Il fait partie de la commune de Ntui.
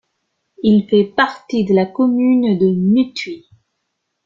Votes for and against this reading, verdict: 1, 2, rejected